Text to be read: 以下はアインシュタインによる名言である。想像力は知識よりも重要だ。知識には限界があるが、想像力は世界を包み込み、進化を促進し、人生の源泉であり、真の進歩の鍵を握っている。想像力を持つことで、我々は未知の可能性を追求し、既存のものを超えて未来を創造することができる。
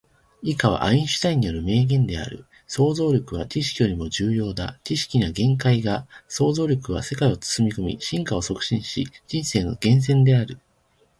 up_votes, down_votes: 1, 2